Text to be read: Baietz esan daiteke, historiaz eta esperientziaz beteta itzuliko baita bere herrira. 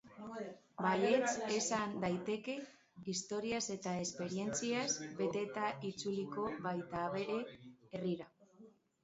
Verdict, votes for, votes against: rejected, 2, 3